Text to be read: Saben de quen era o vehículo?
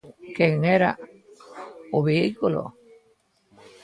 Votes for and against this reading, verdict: 0, 2, rejected